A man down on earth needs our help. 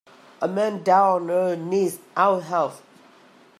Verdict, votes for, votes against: rejected, 1, 2